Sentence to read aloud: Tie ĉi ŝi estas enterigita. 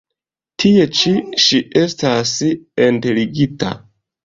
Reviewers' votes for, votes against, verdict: 2, 0, accepted